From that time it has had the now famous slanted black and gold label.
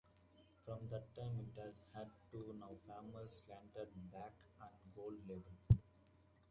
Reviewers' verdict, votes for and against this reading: rejected, 1, 2